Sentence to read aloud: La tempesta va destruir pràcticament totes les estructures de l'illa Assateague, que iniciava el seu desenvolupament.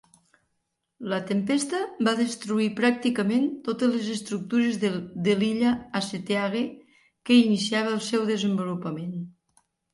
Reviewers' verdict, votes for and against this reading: rejected, 1, 2